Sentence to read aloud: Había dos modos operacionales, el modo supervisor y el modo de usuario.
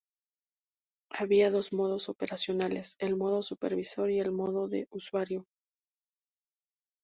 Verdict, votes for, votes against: accepted, 2, 0